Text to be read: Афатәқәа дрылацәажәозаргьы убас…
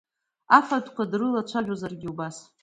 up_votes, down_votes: 2, 1